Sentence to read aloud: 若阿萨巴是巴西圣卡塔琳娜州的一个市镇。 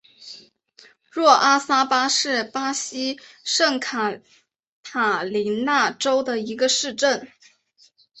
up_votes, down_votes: 2, 0